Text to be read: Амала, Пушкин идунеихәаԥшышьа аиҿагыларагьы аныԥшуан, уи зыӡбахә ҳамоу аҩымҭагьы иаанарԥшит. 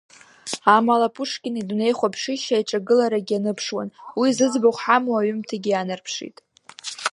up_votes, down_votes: 1, 2